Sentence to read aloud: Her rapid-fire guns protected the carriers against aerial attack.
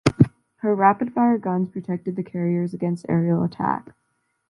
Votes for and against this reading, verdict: 2, 0, accepted